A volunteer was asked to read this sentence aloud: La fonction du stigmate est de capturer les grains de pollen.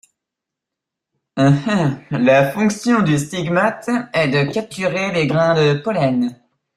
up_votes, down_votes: 0, 2